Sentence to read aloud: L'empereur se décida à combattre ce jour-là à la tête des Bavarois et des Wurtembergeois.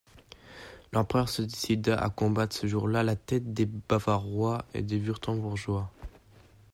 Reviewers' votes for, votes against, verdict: 0, 2, rejected